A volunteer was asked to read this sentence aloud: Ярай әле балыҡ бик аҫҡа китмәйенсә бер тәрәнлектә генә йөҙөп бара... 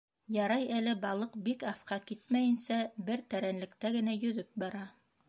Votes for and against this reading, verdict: 2, 0, accepted